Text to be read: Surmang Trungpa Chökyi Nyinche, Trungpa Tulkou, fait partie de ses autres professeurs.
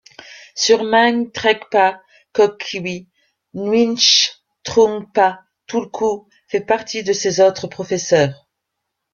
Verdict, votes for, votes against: rejected, 0, 2